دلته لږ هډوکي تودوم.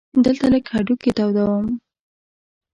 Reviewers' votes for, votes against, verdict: 1, 2, rejected